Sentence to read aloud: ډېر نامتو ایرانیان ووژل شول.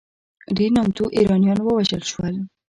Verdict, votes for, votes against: rejected, 1, 2